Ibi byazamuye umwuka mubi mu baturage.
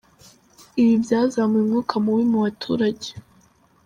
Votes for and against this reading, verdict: 4, 0, accepted